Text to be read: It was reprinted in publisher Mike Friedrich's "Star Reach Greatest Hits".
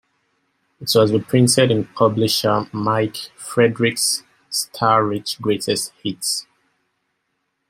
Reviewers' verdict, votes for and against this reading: rejected, 0, 2